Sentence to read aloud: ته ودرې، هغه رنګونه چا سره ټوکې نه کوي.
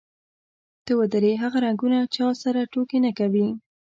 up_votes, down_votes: 2, 0